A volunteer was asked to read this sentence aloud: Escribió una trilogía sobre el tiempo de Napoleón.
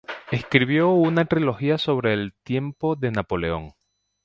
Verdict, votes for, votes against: accepted, 2, 0